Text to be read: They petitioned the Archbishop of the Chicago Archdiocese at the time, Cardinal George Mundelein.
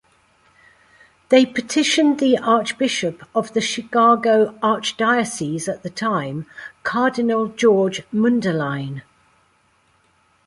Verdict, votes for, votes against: accepted, 2, 0